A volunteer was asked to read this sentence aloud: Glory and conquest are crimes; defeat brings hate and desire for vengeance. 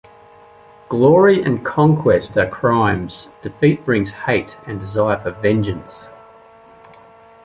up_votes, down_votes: 2, 0